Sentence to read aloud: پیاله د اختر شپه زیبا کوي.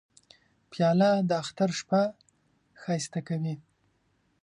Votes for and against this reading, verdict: 0, 2, rejected